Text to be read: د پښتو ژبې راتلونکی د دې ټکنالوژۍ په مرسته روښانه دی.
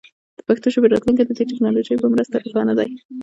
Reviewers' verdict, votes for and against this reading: rejected, 0, 2